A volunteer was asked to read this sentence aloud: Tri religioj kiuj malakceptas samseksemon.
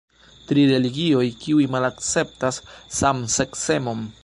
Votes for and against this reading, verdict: 2, 0, accepted